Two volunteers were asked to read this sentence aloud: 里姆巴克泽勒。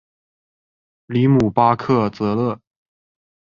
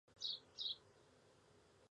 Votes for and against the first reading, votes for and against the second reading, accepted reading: 2, 0, 0, 2, first